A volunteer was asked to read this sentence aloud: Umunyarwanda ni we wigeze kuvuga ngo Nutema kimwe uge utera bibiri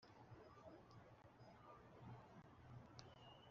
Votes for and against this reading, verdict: 0, 2, rejected